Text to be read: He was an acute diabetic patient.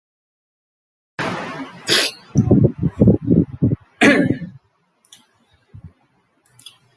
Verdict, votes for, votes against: rejected, 0, 2